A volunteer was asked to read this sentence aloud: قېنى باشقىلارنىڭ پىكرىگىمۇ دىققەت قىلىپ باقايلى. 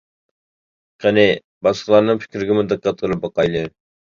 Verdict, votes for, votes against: rejected, 1, 2